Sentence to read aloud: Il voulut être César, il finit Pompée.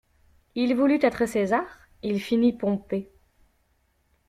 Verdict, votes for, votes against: accepted, 2, 0